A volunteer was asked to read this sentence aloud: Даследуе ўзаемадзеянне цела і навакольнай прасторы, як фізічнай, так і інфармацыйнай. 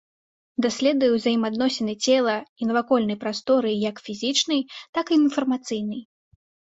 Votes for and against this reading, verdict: 0, 2, rejected